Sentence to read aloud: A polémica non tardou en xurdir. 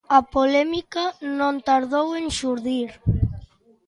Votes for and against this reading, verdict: 2, 0, accepted